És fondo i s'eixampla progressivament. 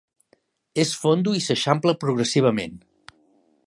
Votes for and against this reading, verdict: 4, 0, accepted